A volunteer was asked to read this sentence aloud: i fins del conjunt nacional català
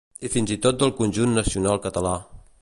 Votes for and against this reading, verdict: 0, 2, rejected